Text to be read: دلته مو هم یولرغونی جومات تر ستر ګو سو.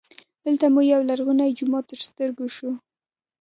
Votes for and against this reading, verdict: 3, 1, accepted